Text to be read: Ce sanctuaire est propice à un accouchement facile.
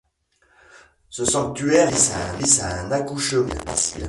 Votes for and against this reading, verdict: 0, 2, rejected